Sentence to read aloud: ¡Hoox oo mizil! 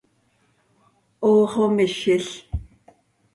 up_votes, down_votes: 2, 0